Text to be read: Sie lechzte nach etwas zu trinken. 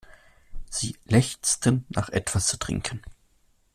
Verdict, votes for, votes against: rejected, 1, 2